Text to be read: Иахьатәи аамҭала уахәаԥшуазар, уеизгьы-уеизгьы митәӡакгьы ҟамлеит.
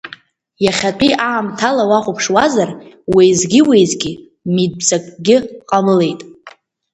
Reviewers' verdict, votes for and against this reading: accepted, 3, 0